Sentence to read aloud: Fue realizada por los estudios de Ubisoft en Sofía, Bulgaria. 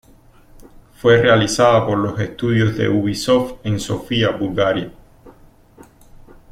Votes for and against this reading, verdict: 1, 2, rejected